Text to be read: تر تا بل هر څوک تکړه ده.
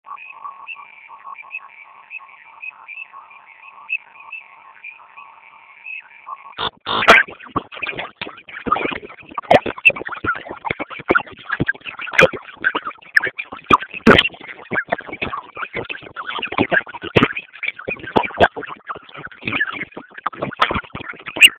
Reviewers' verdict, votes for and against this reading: rejected, 0, 2